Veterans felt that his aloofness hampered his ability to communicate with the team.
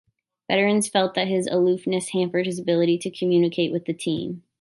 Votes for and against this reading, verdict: 2, 0, accepted